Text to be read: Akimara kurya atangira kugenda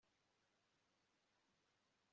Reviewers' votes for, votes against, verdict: 0, 2, rejected